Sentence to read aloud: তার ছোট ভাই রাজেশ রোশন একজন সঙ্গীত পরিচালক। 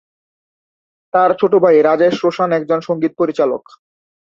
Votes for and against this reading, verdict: 3, 0, accepted